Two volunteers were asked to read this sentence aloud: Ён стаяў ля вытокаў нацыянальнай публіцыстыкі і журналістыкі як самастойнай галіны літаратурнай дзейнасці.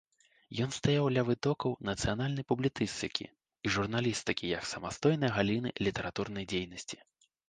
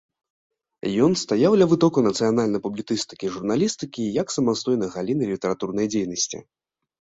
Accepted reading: second